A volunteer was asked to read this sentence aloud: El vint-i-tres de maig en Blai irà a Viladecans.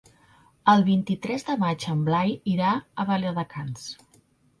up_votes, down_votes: 0, 2